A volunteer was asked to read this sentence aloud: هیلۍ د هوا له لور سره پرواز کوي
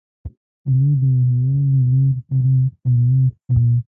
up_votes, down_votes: 0, 3